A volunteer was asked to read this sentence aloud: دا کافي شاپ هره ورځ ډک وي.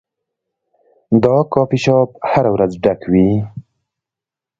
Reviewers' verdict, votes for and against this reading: accepted, 2, 0